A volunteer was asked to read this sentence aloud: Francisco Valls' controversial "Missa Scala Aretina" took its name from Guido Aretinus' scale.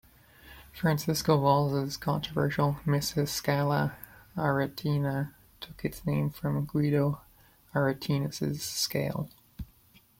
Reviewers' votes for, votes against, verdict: 1, 2, rejected